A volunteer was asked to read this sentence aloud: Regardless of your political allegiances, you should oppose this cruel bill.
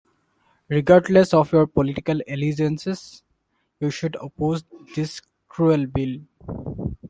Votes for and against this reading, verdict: 2, 1, accepted